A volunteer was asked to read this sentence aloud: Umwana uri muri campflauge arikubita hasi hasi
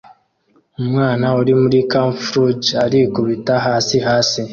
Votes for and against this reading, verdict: 2, 0, accepted